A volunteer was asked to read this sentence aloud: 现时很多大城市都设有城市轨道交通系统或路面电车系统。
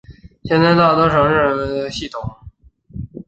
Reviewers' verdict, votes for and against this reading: rejected, 0, 2